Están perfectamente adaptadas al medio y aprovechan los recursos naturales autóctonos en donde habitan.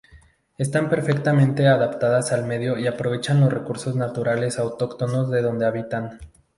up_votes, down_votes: 0, 2